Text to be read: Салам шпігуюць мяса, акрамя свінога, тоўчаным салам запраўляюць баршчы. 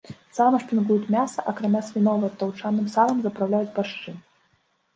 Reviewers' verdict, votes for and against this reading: rejected, 1, 2